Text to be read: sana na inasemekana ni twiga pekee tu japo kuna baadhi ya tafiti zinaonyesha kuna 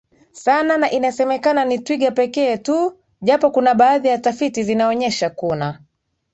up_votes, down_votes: 2, 0